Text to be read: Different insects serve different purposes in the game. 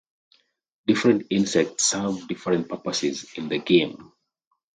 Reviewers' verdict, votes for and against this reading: accepted, 2, 0